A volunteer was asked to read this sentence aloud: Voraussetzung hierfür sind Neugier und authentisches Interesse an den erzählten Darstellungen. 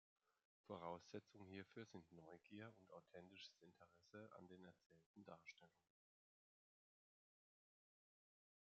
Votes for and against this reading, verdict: 2, 1, accepted